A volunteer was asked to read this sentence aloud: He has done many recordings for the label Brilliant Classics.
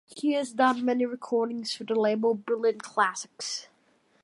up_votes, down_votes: 2, 0